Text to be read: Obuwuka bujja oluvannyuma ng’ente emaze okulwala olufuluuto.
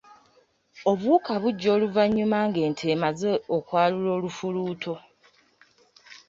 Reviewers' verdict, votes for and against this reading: rejected, 1, 2